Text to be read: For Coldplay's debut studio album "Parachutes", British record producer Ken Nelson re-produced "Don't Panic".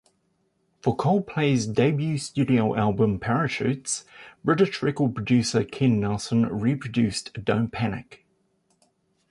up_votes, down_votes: 2, 0